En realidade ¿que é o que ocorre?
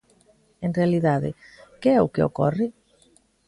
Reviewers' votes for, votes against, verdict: 2, 0, accepted